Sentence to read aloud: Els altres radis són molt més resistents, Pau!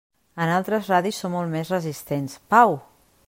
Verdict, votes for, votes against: rejected, 1, 2